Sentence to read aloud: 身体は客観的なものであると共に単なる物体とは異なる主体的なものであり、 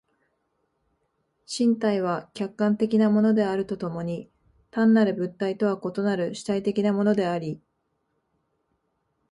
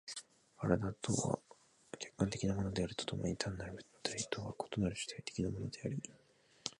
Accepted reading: first